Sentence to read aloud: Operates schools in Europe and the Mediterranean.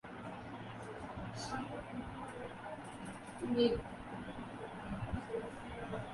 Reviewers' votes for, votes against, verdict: 0, 2, rejected